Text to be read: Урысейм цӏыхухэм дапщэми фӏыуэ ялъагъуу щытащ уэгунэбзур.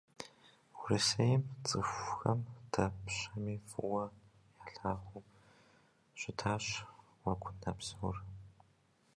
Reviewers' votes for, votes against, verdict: 0, 2, rejected